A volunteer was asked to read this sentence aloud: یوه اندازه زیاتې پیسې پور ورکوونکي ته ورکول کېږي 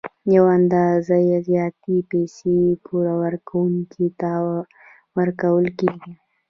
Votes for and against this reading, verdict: 2, 1, accepted